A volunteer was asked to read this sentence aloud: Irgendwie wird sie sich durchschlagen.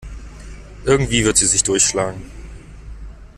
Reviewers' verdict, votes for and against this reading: accepted, 2, 0